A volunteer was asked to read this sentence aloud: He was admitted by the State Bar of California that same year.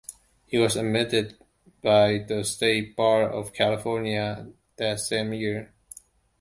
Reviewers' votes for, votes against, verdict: 2, 0, accepted